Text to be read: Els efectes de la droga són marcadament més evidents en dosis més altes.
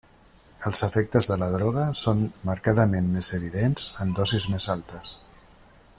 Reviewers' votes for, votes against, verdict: 3, 1, accepted